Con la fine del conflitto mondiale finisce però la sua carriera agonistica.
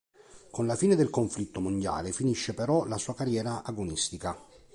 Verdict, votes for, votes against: accepted, 3, 0